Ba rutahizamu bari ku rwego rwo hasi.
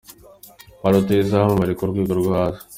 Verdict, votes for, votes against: accepted, 2, 1